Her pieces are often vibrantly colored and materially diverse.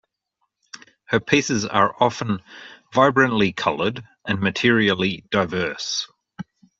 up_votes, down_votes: 2, 0